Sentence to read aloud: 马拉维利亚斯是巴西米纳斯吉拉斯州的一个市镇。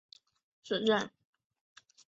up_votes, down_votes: 0, 2